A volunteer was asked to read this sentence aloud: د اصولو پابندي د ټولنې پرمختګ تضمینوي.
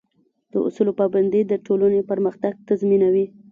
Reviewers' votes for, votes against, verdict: 0, 2, rejected